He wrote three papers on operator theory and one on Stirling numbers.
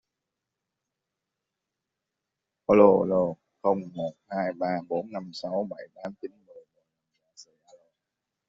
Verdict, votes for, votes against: rejected, 0, 2